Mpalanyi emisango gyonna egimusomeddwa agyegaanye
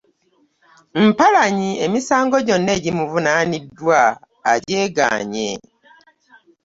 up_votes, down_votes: 0, 2